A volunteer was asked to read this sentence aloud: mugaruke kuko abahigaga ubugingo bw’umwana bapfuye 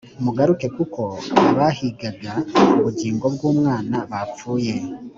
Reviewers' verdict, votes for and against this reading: accepted, 2, 0